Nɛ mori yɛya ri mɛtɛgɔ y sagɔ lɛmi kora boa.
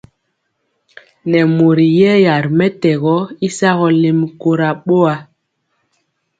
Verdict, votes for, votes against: accepted, 2, 0